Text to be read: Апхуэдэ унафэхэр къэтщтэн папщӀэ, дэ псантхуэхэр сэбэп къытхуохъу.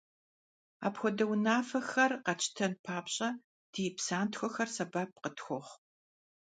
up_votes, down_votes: 0, 2